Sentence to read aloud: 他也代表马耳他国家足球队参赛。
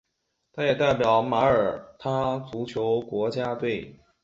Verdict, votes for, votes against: accepted, 2, 0